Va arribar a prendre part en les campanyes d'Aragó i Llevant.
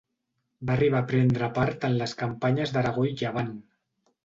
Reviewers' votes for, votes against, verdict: 2, 0, accepted